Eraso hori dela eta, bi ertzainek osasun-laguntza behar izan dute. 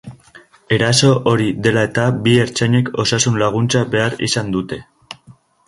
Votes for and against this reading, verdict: 2, 0, accepted